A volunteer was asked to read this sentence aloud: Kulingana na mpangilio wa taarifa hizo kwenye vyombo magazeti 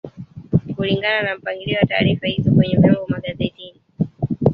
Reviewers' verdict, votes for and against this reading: rejected, 2, 3